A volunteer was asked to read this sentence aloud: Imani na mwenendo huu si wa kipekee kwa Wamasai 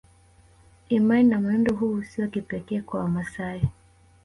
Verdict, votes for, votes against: accepted, 3, 2